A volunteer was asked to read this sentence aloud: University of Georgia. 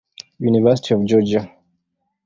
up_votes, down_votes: 2, 0